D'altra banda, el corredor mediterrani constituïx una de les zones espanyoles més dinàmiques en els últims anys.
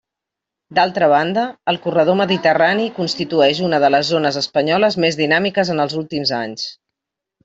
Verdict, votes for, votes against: rejected, 0, 2